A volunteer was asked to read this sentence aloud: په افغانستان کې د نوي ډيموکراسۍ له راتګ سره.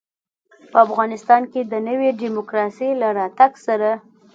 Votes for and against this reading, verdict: 2, 0, accepted